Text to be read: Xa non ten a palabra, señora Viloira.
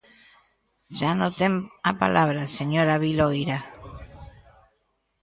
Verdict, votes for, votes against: accepted, 2, 1